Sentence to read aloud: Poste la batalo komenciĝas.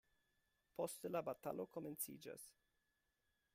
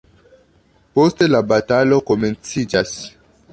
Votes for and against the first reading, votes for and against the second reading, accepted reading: 2, 0, 0, 2, first